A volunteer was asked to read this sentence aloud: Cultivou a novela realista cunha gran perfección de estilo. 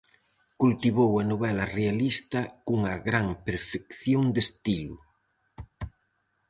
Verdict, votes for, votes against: accepted, 4, 0